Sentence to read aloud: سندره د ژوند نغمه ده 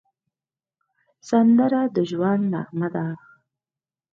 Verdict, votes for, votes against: accepted, 4, 0